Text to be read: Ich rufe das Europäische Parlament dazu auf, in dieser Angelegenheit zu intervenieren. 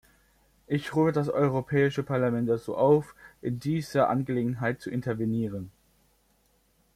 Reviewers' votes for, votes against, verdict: 1, 2, rejected